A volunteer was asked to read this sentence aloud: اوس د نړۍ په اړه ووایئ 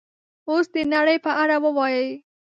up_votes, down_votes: 2, 0